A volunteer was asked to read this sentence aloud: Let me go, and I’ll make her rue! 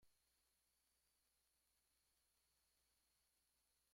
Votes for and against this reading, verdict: 0, 2, rejected